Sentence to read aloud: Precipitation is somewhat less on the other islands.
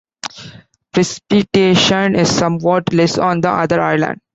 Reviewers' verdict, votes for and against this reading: rejected, 0, 2